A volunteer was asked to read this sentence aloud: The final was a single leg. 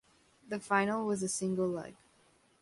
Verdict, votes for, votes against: accepted, 2, 0